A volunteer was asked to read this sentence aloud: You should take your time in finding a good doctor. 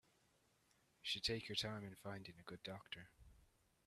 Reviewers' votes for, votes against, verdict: 1, 2, rejected